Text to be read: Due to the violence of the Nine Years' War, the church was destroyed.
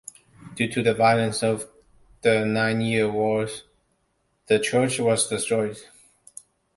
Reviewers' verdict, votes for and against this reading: rejected, 1, 2